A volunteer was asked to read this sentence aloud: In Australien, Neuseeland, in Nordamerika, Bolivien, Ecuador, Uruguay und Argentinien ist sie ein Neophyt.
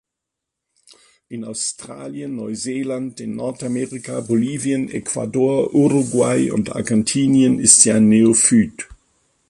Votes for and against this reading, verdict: 2, 1, accepted